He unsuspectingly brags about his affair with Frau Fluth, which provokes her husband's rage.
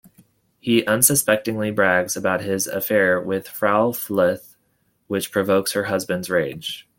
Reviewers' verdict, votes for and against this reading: accepted, 2, 0